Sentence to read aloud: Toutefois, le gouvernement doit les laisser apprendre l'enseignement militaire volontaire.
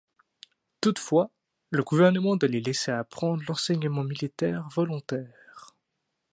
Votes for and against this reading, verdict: 1, 2, rejected